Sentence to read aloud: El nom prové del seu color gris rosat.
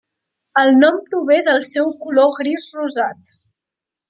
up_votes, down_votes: 2, 1